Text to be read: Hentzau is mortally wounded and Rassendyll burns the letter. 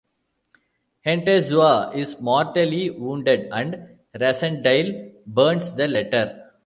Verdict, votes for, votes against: rejected, 1, 2